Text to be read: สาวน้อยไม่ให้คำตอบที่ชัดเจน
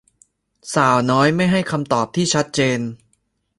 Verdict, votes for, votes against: accepted, 2, 0